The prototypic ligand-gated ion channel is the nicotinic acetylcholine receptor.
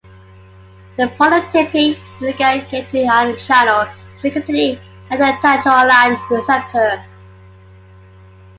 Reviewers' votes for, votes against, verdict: 2, 3, rejected